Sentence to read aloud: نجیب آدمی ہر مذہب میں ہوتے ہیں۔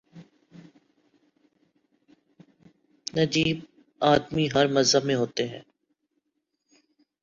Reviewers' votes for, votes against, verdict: 1, 2, rejected